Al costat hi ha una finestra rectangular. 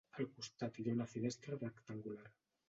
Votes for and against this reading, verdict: 1, 2, rejected